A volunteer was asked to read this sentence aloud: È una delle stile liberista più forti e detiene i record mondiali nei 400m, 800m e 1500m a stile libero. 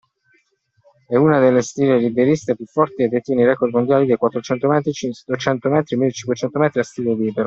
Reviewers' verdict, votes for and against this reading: rejected, 0, 2